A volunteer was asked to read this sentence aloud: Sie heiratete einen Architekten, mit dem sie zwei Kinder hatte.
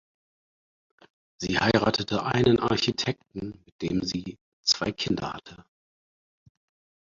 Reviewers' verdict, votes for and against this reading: rejected, 2, 4